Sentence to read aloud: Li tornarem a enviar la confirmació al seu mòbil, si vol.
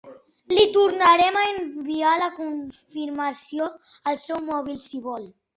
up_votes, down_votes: 2, 1